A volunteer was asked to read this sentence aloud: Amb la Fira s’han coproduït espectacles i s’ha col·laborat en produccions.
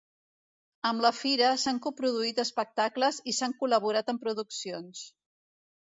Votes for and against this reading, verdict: 1, 2, rejected